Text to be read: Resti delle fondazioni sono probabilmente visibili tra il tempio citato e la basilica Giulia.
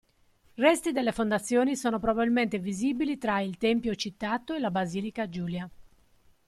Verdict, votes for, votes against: accepted, 2, 0